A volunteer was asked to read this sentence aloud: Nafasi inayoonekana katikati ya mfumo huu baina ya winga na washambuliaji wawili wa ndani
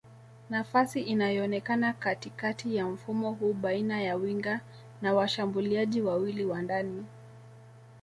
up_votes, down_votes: 2, 1